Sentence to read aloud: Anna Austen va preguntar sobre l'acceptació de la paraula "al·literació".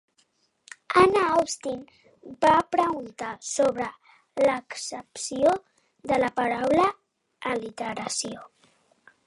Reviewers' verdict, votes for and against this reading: rejected, 0, 2